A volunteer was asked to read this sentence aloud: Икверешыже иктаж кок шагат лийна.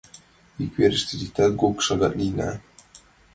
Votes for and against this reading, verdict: 1, 2, rejected